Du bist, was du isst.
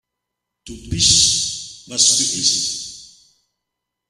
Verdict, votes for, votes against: rejected, 0, 2